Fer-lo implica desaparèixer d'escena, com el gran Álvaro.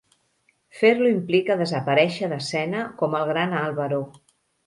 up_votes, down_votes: 3, 0